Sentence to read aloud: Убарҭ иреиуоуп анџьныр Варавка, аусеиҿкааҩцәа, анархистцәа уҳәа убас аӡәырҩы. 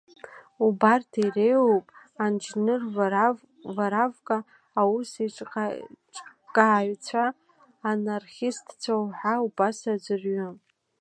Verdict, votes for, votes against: rejected, 0, 2